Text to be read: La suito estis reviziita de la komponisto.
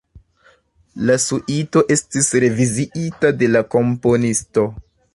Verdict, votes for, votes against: accepted, 2, 0